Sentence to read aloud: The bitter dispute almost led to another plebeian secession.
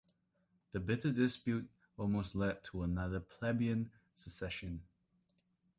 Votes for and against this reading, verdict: 2, 0, accepted